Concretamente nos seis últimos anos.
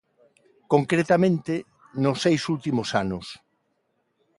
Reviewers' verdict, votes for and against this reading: accepted, 2, 0